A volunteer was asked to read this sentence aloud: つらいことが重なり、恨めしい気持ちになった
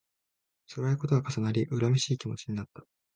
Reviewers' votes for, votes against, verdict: 2, 0, accepted